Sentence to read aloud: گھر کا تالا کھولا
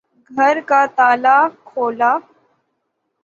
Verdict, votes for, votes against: rejected, 3, 3